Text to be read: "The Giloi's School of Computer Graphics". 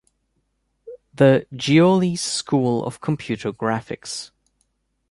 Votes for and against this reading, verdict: 1, 2, rejected